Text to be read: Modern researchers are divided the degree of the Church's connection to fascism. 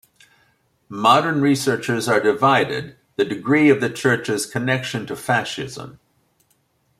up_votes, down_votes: 2, 0